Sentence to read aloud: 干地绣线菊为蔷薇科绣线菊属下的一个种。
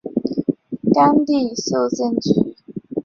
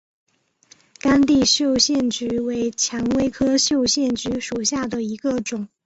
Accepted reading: second